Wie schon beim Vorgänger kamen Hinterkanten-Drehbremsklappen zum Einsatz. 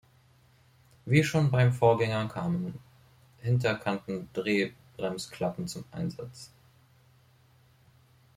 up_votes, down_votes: 1, 2